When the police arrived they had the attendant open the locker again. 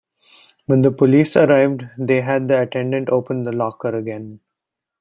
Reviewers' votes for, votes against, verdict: 2, 0, accepted